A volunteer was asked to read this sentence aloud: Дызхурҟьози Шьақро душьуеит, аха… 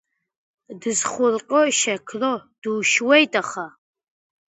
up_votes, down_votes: 1, 2